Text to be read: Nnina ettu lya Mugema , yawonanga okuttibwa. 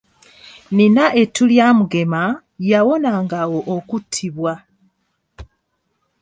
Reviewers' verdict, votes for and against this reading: rejected, 1, 2